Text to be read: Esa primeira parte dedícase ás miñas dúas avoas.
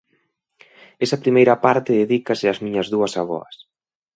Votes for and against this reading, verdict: 2, 0, accepted